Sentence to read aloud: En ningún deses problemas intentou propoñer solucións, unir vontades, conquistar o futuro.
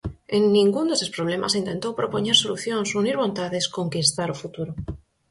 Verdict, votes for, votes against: accepted, 4, 0